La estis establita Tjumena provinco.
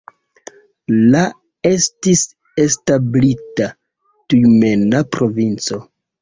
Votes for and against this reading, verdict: 0, 2, rejected